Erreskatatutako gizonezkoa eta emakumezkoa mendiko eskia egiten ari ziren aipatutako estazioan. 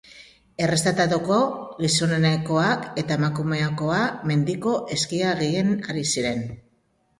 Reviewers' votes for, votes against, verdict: 0, 2, rejected